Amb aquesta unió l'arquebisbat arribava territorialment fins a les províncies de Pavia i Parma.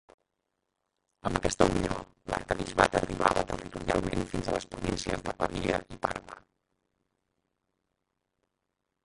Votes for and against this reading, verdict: 0, 3, rejected